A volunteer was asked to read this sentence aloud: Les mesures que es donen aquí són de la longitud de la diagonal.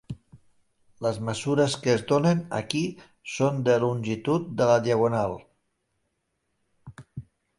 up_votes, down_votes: 0, 2